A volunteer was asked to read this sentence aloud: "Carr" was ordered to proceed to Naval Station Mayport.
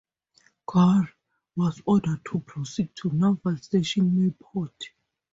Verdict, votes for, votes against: accepted, 4, 0